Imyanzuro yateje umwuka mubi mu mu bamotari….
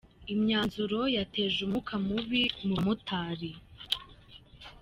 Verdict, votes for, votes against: rejected, 0, 2